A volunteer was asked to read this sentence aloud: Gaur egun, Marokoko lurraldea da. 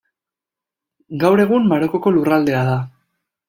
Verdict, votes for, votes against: accepted, 2, 0